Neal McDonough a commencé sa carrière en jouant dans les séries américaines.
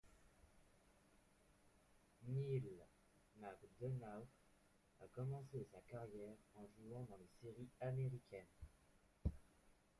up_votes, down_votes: 0, 2